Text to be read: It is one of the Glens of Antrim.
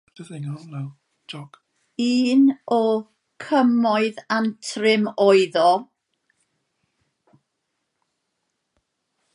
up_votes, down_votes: 0, 2